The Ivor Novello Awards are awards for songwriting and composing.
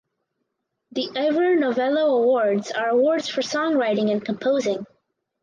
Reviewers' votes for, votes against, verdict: 4, 0, accepted